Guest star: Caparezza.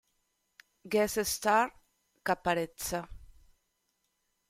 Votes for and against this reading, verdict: 2, 0, accepted